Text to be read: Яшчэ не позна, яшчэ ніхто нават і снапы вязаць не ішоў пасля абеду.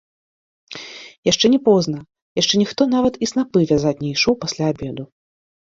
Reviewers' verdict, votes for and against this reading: accepted, 2, 0